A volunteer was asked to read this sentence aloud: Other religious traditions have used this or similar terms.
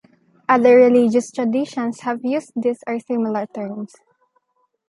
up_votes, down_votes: 0, 2